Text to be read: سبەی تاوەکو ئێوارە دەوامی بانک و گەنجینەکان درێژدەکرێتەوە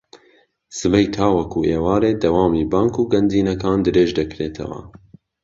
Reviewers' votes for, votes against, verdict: 1, 2, rejected